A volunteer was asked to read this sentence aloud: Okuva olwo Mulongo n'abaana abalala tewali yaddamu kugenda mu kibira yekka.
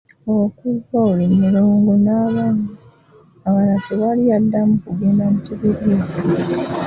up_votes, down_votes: 0, 2